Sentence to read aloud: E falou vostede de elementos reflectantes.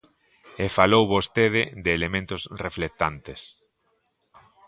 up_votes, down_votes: 2, 0